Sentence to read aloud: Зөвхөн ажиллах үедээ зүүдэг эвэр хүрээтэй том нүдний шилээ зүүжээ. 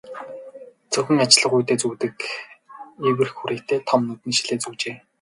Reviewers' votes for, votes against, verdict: 0, 2, rejected